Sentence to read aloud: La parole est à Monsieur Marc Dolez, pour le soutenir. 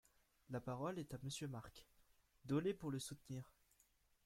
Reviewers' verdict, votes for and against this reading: rejected, 1, 2